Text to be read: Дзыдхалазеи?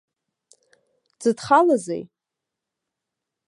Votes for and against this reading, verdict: 2, 0, accepted